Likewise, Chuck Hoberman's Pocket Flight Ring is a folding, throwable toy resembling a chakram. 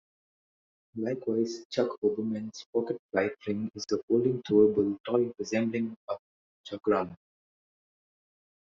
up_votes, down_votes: 2, 0